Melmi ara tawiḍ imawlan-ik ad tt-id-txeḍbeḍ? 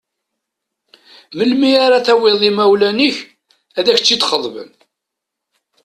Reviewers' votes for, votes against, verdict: 1, 2, rejected